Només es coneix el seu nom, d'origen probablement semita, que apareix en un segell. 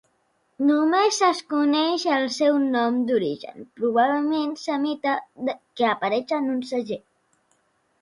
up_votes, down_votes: 0, 2